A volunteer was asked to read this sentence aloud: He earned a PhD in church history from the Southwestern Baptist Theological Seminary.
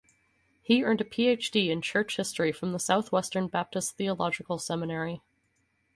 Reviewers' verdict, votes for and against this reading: rejected, 2, 2